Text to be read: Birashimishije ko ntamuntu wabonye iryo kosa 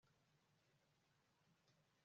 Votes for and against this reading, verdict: 1, 2, rejected